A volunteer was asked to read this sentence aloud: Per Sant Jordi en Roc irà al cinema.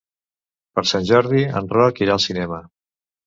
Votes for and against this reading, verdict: 2, 0, accepted